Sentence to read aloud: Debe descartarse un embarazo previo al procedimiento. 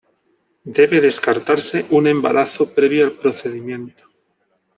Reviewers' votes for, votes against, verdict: 2, 1, accepted